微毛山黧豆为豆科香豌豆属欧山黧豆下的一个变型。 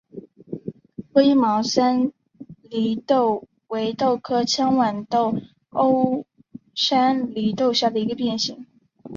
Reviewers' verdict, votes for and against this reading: rejected, 0, 2